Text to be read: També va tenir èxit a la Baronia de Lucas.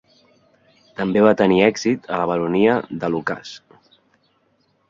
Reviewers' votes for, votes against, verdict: 3, 1, accepted